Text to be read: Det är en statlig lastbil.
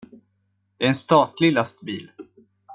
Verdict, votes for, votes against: accepted, 2, 0